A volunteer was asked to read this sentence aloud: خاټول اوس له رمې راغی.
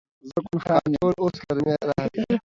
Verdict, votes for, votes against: rejected, 1, 2